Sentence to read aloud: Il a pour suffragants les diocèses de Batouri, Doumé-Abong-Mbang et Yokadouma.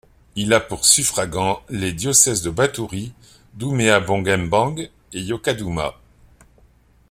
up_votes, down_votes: 2, 0